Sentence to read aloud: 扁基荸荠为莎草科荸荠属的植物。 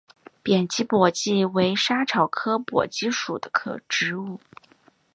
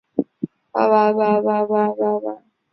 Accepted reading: first